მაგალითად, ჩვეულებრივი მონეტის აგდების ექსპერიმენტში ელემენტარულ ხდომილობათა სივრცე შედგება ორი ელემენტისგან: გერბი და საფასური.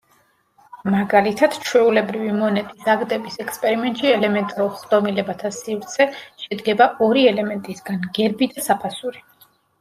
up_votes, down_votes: 0, 2